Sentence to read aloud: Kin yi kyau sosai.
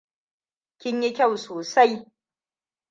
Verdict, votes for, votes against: rejected, 1, 2